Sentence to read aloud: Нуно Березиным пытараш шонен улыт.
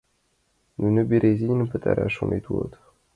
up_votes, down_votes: 0, 2